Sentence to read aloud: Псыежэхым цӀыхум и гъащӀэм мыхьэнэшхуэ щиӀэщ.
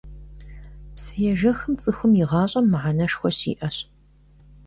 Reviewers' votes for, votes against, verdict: 1, 2, rejected